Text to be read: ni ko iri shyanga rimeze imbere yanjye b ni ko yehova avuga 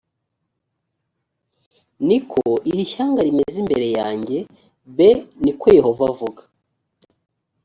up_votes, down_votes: 2, 0